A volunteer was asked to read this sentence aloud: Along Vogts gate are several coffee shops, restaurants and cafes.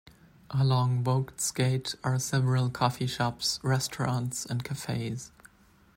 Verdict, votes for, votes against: accepted, 2, 0